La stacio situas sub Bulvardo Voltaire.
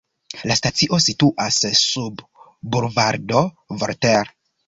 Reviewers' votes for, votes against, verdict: 2, 0, accepted